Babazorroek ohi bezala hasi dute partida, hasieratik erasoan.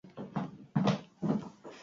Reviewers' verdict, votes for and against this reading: rejected, 0, 6